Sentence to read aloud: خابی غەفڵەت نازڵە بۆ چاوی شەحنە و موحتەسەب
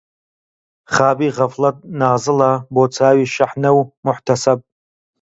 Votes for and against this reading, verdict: 2, 0, accepted